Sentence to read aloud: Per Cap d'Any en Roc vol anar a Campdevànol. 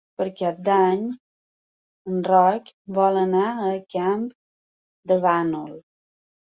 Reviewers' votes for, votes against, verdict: 1, 2, rejected